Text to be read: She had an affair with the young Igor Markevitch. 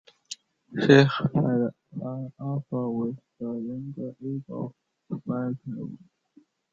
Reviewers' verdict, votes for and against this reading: rejected, 0, 2